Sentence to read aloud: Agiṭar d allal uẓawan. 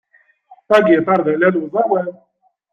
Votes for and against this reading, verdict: 2, 1, accepted